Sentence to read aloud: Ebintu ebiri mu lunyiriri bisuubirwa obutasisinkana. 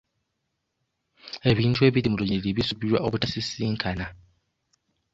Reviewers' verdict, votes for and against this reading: rejected, 1, 2